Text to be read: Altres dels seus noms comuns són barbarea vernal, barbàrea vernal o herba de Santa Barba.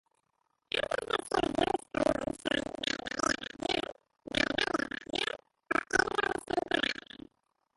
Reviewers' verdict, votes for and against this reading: rejected, 0, 2